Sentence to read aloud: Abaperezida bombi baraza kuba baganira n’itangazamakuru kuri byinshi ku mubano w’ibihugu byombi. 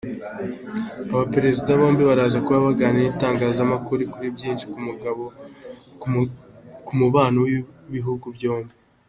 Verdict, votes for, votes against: rejected, 0, 2